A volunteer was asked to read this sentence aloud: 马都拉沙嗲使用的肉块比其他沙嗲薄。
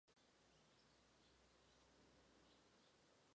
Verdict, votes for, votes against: rejected, 0, 2